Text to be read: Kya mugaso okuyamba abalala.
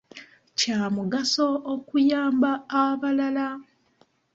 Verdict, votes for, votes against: accepted, 2, 0